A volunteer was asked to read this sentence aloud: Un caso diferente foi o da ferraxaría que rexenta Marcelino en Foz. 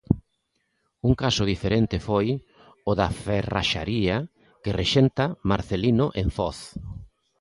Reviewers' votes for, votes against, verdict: 2, 0, accepted